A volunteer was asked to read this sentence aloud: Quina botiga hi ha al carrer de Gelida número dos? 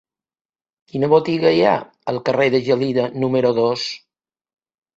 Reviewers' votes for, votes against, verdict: 2, 0, accepted